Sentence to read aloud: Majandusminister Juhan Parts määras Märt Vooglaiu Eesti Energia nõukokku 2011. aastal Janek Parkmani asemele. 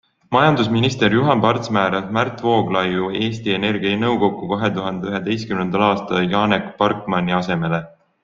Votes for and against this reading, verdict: 0, 2, rejected